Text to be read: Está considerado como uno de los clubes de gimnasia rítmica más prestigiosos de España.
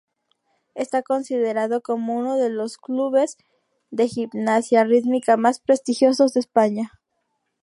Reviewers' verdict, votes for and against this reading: accepted, 2, 0